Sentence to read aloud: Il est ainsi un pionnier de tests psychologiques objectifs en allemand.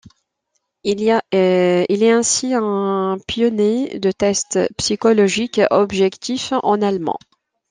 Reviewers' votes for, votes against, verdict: 0, 2, rejected